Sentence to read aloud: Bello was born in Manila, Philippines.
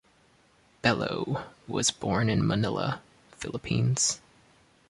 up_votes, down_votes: 2, 0